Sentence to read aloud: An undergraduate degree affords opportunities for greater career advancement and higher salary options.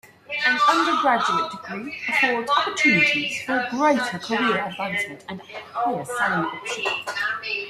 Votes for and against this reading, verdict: 0, 2, rejected